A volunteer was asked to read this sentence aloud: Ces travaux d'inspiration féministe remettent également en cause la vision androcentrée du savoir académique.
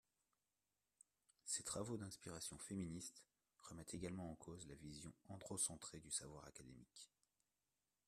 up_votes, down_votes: 0, 2